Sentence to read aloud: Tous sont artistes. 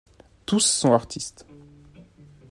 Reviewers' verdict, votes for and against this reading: accepted, 2, 0